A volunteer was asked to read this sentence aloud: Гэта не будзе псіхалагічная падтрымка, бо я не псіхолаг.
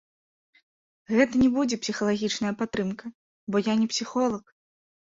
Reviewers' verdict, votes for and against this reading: rejected, 1, 2